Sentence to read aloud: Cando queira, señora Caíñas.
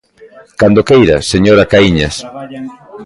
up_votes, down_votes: 1, 2